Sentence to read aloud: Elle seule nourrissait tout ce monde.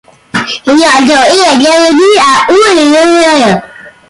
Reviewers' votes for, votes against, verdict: 0, 2, rejected